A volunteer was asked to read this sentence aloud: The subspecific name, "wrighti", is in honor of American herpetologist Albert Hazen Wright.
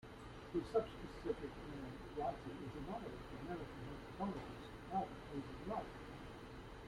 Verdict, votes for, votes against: rejected, 1, 2